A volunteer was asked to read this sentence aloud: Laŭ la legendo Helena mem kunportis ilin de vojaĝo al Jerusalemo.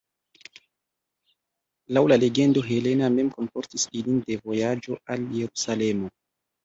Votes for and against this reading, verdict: 1, 2, rejected